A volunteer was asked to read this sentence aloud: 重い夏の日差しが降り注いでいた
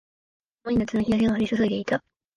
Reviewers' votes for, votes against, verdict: 1, 2, rejected